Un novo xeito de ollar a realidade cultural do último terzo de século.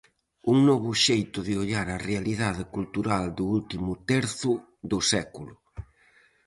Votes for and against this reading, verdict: 0, 4, rejected